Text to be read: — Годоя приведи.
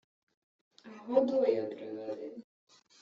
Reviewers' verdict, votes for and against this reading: rejected, 1, 2